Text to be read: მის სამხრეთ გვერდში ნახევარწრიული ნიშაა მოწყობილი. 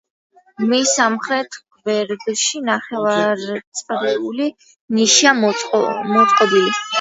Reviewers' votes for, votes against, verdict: 0, 2, rejected